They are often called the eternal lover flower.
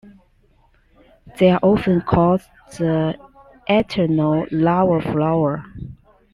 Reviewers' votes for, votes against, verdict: 1, 2, rejected